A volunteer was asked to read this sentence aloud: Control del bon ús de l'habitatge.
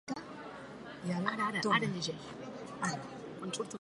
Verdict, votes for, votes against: rejected, 0, 2